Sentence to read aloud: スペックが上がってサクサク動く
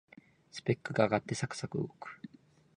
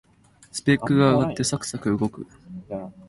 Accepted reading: second